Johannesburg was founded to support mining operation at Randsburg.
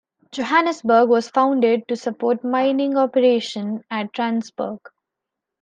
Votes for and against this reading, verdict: 2, 0, accepted